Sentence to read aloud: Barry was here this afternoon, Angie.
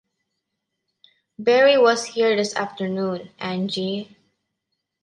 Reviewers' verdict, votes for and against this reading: accepted, 2, 0